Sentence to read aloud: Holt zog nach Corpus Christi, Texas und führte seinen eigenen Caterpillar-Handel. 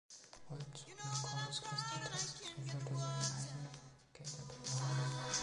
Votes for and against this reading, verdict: 0, 2, rejected